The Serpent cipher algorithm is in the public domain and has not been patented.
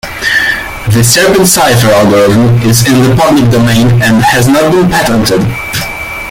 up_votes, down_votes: 1, 2